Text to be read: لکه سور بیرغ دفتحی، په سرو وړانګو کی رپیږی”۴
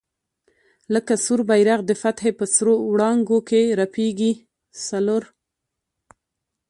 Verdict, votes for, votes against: rejected, 0, 2